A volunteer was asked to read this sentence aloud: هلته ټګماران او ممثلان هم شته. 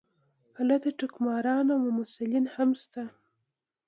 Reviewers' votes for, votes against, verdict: 2, 0, accepted